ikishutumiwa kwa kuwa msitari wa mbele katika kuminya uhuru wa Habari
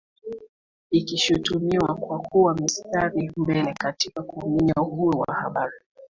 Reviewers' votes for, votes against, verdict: 2, 0, accepted